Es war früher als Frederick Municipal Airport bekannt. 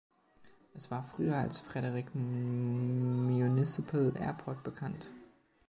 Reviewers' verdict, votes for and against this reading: rejected, 1, 2